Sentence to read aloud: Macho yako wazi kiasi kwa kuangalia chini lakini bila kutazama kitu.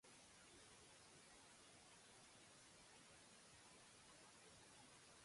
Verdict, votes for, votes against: rejected, 1, 2